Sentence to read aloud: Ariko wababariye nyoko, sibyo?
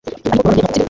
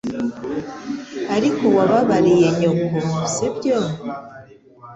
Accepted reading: second